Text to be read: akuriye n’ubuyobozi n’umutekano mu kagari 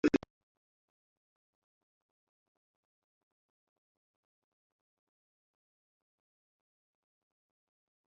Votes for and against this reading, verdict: 1, 2, rejected